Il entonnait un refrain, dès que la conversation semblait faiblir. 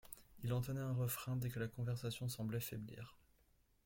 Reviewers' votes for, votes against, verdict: 2, 0, accepted